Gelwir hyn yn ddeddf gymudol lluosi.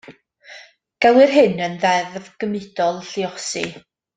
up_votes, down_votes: 2, 0